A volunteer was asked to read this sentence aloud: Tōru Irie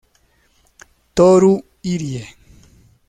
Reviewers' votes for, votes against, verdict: 1, 2, rejected